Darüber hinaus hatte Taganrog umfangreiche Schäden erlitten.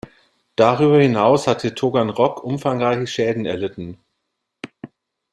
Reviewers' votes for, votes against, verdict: 1, 2, rejected